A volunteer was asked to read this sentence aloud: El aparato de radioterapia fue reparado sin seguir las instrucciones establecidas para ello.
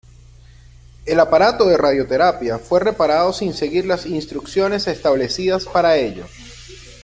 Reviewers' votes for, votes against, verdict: 2, 0, accepted